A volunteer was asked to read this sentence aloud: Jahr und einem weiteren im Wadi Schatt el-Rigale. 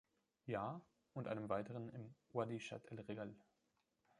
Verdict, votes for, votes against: rejected, 1, 2